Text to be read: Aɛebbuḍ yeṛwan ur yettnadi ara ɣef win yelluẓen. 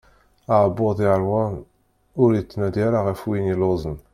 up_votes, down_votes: 1, 2